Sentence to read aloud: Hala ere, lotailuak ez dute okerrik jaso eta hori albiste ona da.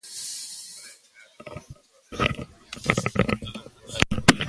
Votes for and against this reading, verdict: 0, 3, rejected